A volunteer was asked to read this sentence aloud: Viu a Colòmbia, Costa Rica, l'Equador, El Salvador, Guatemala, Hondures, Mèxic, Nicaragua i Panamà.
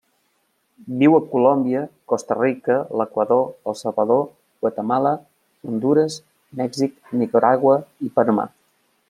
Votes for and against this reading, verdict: 2, 0, accepted